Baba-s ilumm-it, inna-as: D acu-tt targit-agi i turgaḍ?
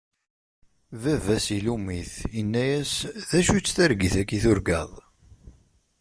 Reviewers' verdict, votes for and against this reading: accepted, 2, 0